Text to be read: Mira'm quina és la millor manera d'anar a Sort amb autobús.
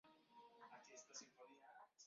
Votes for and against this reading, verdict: 1, 2, rejected